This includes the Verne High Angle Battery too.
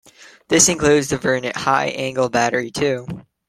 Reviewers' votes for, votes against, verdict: 2, 1, accepted